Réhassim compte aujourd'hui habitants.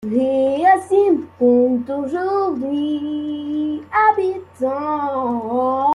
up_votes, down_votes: 1, 2